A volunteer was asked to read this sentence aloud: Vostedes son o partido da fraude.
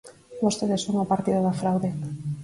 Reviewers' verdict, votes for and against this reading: rejected, 2, 2